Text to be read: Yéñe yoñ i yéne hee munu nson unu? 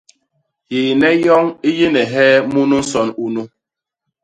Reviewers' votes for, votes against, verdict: 0, 2, rejected